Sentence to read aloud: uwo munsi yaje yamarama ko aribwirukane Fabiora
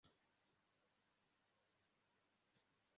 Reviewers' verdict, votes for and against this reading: rejected, 0, 2